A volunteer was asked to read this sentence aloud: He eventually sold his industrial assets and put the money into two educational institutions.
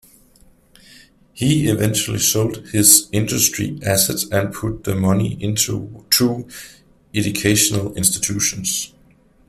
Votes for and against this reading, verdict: 1, 2, rejected